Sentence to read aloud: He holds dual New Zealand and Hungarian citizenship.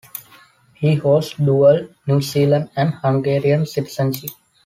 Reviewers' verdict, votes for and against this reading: accepted, 2, 0